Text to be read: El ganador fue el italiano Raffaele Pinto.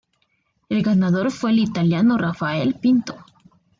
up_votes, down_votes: 2, 0